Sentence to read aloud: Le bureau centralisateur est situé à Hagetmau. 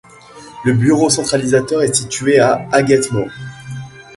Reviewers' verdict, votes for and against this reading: accepted, 2, 0